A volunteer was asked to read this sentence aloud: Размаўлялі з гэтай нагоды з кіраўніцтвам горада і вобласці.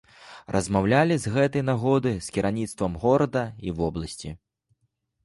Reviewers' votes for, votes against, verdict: 1, 2, rejected